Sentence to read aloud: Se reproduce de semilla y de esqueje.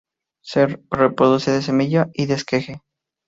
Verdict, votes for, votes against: accepted, 4, 0